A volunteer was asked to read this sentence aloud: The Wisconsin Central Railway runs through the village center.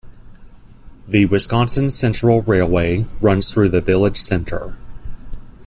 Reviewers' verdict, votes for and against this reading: accepted, 2, 0